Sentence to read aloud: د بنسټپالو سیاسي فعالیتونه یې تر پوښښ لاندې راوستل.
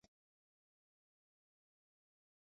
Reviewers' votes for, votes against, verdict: 0, 2, rejected